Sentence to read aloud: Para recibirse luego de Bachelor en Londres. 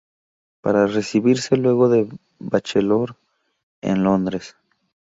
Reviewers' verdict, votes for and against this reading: rejected, 0, 2